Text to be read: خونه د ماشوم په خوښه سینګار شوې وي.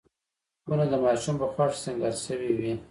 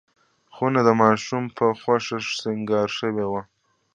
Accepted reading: first